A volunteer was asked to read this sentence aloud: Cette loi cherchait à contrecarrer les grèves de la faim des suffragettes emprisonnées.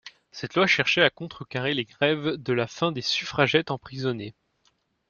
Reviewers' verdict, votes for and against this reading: accepted, 2, 0